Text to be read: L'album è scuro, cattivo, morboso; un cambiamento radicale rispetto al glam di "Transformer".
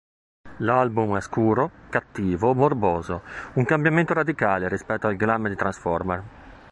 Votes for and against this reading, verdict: 2, 0, accepted